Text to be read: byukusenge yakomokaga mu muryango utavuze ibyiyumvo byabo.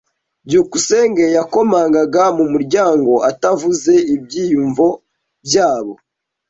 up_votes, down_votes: 1, 2